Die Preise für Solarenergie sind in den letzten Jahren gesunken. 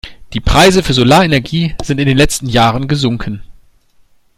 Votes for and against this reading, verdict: 2, 0, accepted